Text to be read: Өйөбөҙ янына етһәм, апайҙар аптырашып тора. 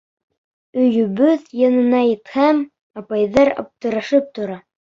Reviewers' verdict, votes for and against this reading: rejected, 1, 2